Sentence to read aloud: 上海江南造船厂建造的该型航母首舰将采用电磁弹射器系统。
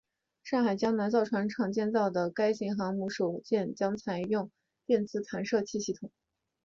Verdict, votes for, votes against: rejected, 1, 3